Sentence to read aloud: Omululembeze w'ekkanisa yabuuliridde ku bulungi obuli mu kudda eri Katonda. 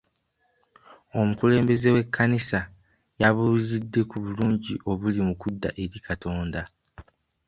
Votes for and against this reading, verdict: 2, 1, accepted